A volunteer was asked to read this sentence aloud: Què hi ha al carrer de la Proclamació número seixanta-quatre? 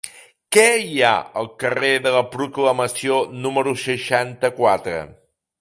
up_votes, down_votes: 3, 0